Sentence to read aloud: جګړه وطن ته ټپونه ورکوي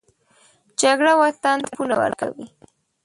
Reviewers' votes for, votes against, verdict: 0, 2, rejected